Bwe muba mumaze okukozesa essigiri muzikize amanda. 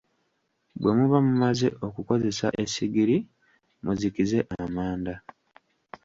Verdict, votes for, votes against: accepted, 2, 1